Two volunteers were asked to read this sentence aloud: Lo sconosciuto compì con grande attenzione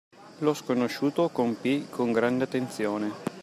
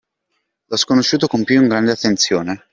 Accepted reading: first